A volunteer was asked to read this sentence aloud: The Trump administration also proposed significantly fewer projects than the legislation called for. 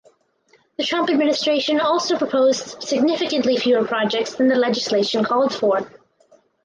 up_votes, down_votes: 0, 4